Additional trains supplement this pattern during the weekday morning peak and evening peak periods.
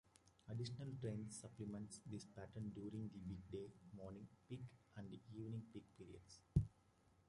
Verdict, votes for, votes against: rejected, 0, 2